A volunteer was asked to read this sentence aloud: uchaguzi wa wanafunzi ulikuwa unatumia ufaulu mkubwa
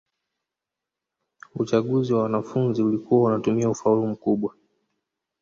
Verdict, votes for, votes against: accepted, 2, 1